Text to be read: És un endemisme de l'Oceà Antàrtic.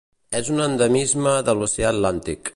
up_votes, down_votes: 0, 2